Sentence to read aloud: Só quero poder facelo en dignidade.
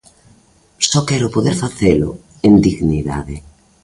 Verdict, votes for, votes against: accepted, 2, 0